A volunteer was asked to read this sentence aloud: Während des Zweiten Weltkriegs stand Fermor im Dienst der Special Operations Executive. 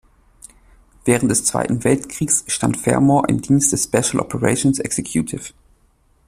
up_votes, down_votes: 2, 0